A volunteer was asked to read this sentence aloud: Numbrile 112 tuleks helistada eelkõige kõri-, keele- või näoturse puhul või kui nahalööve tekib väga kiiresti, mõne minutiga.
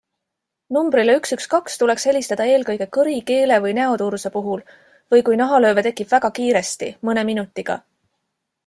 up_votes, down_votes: 0, 2